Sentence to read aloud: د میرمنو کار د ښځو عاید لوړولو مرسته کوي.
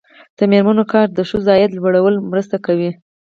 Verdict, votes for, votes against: rejected, 0, 4